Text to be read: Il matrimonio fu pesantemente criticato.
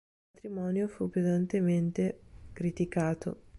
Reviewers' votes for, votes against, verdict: 0, 2, rejected